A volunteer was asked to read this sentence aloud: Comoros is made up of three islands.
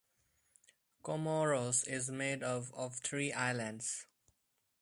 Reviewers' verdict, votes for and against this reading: rejected, 0, 2